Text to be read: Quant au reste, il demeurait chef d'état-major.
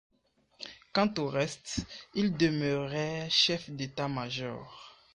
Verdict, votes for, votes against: accepted, 2, 0